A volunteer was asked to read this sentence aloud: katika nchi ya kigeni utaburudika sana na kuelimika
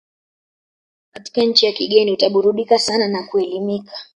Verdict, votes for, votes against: rejected, 1, 2